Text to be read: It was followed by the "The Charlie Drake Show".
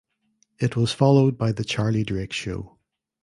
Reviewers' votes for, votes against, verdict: 1, 2, rejected